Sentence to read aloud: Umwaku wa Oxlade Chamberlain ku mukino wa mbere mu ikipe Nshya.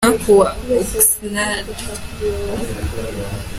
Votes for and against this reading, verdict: 0, 2, rejected